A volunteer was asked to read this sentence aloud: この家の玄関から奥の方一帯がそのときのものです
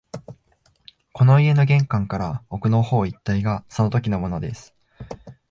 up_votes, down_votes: 1, 2